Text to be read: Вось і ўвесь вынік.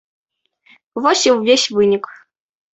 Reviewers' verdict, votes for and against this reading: accepted, 2, 0